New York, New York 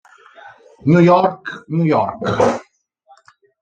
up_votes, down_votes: 0, 2